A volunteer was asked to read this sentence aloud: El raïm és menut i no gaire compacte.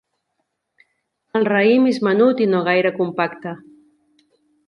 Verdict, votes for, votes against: accepted, 2, 0